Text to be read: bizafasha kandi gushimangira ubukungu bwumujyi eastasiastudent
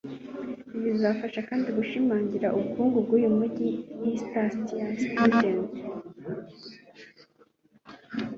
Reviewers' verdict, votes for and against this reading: rejected, 2, 3